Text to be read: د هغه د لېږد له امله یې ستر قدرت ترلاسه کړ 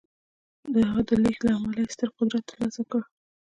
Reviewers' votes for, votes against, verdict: 2, 1, accepted